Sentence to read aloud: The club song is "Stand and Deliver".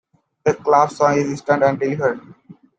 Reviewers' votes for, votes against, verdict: 0, 2, rejected